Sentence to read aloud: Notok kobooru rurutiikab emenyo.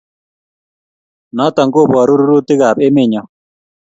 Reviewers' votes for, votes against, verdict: 2, 0, accepted